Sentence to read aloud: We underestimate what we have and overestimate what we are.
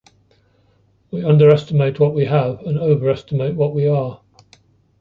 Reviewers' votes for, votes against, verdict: 2, 0, accepted